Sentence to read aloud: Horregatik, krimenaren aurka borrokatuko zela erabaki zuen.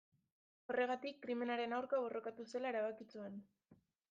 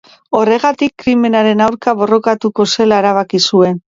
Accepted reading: second